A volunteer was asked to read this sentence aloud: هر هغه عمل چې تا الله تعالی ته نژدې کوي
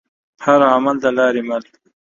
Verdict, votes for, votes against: rejected, 1, 2